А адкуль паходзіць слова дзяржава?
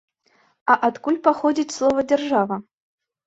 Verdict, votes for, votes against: accepted, 3, 0